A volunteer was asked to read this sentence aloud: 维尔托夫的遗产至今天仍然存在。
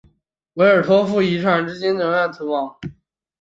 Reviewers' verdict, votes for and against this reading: rejected, 0, 2